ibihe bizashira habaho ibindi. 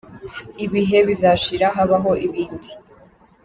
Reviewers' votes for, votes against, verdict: 2, 0, accepted